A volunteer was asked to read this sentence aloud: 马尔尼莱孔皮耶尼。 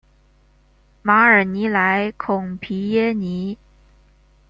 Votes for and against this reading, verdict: 1, 2, rejected